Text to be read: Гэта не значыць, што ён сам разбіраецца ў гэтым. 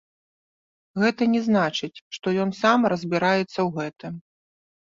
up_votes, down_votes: 2, 1